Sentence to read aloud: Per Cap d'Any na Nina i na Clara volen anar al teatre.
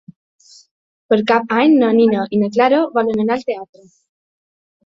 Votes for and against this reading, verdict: 2, 1, accepted